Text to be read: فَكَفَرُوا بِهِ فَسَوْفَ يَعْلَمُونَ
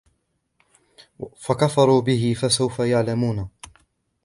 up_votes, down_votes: 2, 0